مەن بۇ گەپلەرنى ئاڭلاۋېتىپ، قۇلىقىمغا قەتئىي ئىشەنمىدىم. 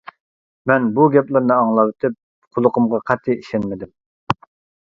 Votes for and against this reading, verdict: 2, 0, accepted